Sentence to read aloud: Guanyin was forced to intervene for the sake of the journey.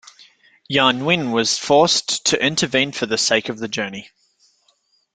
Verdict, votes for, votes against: accepted, 2, 0